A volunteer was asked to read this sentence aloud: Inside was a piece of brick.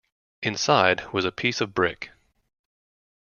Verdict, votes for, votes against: accepted, 2, 0